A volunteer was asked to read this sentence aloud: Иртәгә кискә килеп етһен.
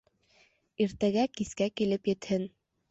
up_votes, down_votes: 2, 0